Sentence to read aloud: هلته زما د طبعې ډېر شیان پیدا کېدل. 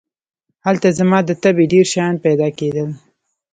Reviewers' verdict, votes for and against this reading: accepted, 3, 1